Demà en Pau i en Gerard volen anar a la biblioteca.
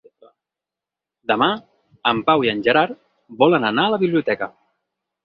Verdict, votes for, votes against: accepted, 6, 0